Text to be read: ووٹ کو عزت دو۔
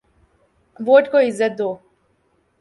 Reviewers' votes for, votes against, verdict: 2, 0, accepted